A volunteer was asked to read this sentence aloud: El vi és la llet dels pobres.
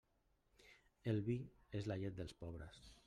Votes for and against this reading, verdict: 1, 2, rejected